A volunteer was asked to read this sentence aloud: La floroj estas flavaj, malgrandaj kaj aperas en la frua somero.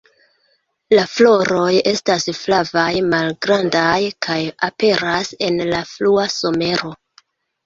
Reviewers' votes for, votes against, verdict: 2, 0, accepted